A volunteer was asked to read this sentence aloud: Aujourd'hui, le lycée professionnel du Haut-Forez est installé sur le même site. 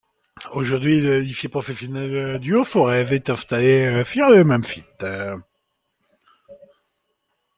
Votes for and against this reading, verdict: 0, 2, rejected